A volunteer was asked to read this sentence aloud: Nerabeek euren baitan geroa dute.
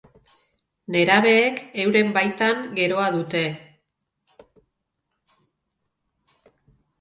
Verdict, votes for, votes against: accepted, 4, 0